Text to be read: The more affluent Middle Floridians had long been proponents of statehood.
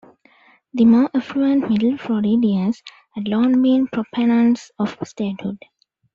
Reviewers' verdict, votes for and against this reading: rejected, 0, 2